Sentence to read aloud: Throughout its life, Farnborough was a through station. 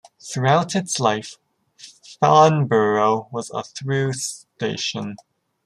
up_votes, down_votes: 1, 2